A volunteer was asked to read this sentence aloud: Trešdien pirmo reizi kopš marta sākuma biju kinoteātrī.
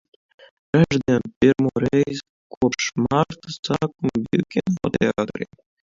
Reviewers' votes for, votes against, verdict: 0, 2, rejected